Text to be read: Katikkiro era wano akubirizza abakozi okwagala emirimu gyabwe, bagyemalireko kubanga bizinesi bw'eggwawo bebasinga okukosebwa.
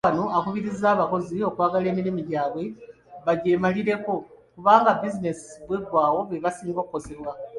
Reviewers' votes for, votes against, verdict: 2, 0, accepted